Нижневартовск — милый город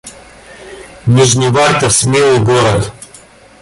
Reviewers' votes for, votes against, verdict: 1, 2, rejected